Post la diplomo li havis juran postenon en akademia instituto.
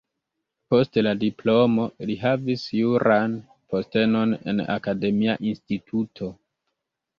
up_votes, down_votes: 1, 2